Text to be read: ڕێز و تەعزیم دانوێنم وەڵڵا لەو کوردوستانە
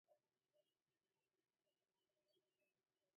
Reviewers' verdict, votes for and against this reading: rejected, 0, 2